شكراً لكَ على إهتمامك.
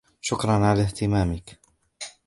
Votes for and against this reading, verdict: 1, 2, rejected